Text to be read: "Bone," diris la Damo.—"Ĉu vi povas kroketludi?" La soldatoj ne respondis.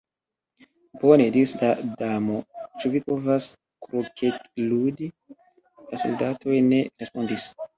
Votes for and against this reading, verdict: 1, 2, rejected